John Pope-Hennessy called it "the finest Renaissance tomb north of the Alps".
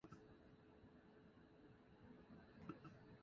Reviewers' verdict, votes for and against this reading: rejected, 0, 2